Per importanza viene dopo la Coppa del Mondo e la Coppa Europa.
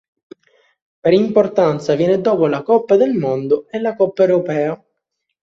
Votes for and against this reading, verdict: 0, 2, rejected